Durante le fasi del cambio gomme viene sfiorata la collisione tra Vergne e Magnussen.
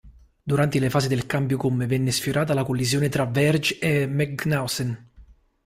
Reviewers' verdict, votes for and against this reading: rejected, 0, 2